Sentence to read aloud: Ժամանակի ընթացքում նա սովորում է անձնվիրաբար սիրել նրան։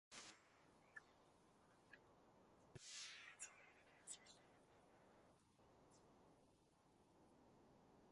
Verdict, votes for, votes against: rejected, 0, 2